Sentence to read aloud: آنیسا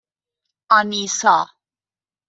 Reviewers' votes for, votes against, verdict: 2, 0, accepted